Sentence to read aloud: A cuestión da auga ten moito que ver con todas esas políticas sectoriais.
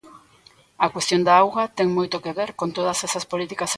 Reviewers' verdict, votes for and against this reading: rejected, 0, 2